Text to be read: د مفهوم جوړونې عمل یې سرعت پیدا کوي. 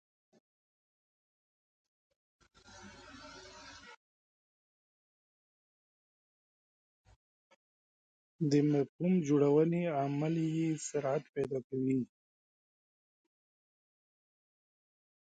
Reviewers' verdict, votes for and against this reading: rejected, 0, 3